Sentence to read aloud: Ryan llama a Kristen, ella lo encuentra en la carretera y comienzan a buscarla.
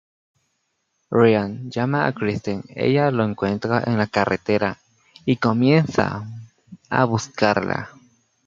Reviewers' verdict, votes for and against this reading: rejected, 0, 2